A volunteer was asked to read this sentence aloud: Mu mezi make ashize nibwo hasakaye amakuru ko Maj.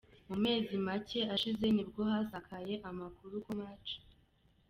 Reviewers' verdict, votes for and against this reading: accepted, 2, 0